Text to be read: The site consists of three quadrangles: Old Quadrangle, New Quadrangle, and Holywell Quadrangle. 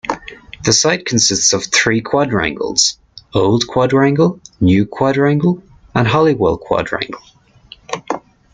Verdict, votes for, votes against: rejected, 1, 2